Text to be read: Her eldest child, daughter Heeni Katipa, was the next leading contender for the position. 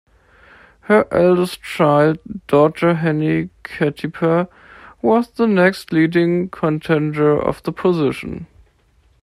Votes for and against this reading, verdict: 0, 2, rejected